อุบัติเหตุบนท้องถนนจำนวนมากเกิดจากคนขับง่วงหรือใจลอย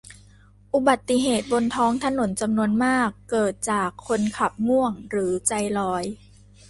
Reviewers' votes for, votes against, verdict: 2, 0, accepted